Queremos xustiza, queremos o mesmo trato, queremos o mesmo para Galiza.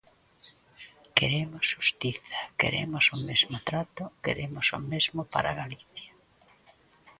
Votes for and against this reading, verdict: 2, 0, accepted